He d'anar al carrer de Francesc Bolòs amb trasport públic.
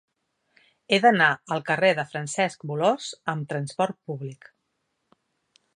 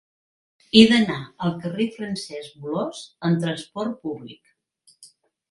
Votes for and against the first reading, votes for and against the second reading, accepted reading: 4, 0, 1, 3, first